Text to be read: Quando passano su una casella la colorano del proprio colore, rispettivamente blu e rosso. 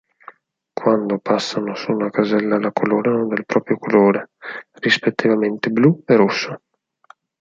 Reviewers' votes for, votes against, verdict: 4, 0, accepted